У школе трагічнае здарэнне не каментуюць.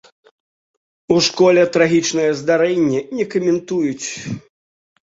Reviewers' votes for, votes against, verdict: 2, 0, accepted